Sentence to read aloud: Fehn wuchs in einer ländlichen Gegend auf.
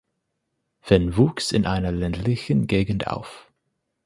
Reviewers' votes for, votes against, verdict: 0, 4, rejected